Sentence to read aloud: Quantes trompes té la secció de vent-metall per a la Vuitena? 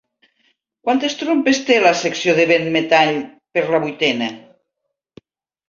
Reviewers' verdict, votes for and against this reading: rejected, 0, 2